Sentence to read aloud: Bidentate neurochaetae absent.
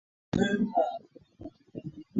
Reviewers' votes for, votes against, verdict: 0, 2, rejected